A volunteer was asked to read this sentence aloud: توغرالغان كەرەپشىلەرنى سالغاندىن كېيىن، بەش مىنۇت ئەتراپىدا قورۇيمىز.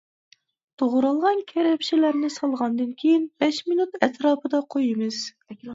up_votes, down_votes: 0, 2